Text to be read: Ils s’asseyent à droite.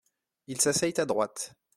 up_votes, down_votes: 2, 0